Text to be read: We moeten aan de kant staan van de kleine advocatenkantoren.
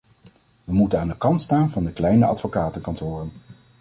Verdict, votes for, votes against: accepted, 2, 0